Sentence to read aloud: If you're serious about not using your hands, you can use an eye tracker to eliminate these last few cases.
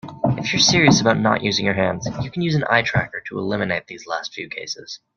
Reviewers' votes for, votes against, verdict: 0, 2, rejected